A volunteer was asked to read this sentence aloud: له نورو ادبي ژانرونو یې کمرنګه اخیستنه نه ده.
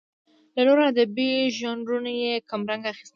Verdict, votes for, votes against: rejected, 0, 2